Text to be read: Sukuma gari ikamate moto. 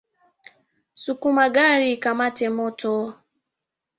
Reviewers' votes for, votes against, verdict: 2, 0, accepted